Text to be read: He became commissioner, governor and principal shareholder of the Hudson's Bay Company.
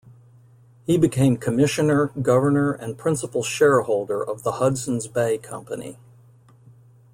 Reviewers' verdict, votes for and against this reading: accepted, 2, 0